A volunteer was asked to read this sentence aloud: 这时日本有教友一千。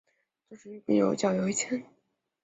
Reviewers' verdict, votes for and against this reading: rejected, 0, 2